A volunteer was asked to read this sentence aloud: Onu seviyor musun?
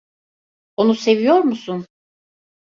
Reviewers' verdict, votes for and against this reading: accepted, 2, 0